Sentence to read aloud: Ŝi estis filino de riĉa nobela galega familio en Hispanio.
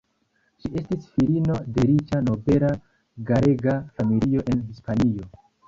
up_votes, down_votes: 0, 2